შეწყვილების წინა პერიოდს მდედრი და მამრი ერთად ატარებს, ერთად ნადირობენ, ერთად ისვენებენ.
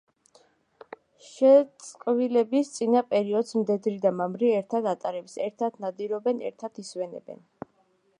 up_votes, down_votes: 1, 2